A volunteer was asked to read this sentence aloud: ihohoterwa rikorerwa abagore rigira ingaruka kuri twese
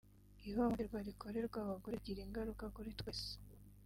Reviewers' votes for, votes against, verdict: 0, 4, rejected